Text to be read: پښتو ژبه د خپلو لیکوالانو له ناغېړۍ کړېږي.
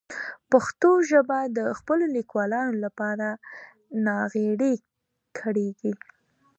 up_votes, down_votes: 2, 1